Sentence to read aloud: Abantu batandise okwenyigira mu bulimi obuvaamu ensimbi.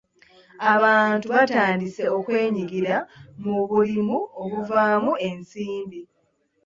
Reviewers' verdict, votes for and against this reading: accepted, 3, 0